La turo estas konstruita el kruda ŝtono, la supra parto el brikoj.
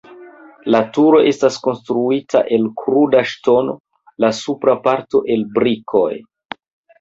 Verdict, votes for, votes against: accepted, 2, 0